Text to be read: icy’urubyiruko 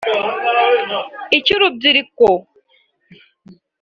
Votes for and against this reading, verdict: 2, 0, accepted